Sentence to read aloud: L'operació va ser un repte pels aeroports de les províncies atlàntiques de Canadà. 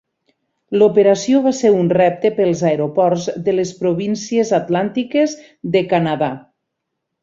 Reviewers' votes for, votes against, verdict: 8, 0, accepted